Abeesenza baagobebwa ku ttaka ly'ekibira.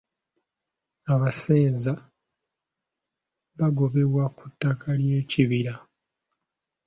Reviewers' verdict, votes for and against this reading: rejected, 1, 2